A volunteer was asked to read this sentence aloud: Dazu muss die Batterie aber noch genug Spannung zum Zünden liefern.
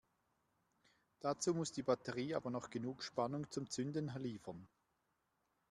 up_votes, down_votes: 2, 0